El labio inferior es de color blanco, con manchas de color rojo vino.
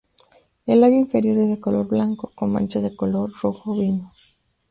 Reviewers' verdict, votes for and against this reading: rejected, 0, 2